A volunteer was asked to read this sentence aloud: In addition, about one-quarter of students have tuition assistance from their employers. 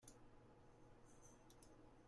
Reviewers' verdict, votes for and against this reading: rejected, 0, 2